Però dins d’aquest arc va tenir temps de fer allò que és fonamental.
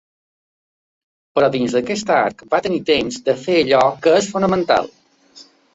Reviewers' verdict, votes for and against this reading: accepted, 2, 0